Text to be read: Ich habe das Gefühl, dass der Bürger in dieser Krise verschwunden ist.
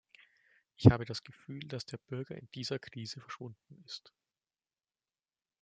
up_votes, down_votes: 1, 2